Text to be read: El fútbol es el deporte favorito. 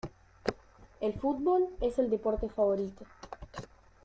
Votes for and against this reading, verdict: 2, 1, accepted